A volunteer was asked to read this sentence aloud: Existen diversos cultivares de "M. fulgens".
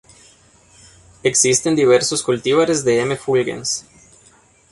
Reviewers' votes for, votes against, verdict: 0, 2, rejected